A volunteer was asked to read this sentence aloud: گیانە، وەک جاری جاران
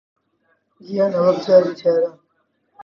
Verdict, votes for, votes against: rejected, 1, 2